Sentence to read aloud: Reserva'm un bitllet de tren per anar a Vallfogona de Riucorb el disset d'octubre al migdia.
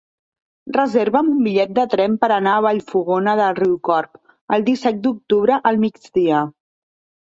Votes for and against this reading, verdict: 2, 0, accepted